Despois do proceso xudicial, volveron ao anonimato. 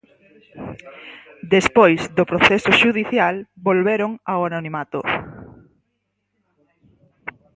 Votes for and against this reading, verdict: 2, 4, rejected